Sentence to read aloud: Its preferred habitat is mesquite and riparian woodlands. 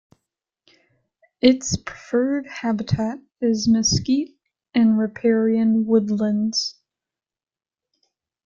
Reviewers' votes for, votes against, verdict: 0, 2, rejected